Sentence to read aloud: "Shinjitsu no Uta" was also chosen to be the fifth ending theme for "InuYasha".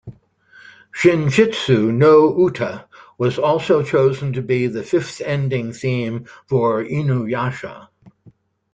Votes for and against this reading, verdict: 2, 0, accepted